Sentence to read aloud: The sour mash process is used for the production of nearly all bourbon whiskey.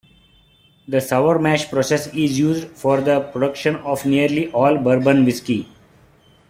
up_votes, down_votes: 0, 2